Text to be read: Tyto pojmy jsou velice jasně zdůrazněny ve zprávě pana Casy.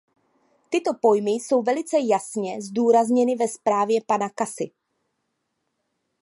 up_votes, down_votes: 2, 0